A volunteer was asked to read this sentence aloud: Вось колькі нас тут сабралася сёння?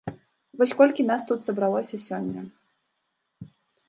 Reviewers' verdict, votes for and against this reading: rejected, 0, 2